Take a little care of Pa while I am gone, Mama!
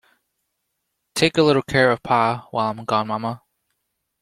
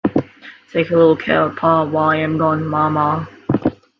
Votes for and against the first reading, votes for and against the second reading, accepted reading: 0, 2, 2, 0, second